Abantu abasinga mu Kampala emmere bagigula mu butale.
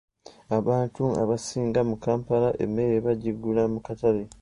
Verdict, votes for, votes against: rejected, 0, 2